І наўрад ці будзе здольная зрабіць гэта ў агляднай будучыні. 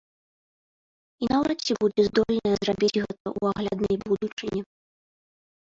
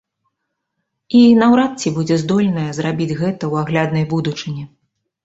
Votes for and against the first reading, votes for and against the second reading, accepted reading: 1, 2, 2, 0, second